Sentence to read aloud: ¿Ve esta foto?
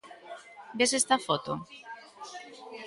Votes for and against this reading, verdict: 0, 2, rejected